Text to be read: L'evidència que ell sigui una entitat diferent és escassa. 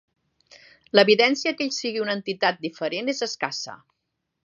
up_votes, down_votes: 3, 0